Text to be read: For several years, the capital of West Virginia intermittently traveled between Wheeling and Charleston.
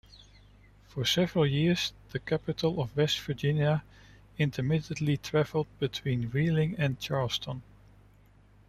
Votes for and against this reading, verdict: 2, 0, accepted